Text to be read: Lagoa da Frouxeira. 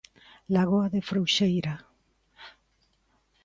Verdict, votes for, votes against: accepted, 2, 1